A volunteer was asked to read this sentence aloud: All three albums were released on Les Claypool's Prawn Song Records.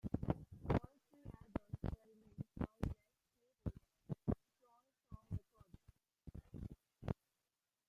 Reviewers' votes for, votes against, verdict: 0, 2, rejected